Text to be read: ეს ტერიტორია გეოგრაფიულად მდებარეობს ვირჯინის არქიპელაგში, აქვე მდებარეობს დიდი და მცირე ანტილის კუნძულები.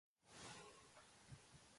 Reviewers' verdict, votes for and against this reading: rejected, 0, 2